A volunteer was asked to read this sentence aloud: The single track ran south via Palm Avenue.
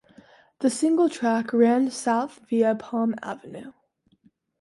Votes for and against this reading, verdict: 2, 0, accepted